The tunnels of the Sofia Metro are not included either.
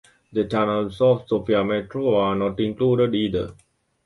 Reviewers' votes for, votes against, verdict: 2, 0, accepted